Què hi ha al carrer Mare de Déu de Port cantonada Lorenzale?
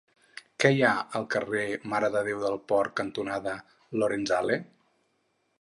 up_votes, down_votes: 0, 2